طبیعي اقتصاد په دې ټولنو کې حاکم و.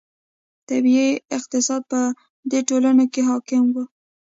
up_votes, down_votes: 2, 0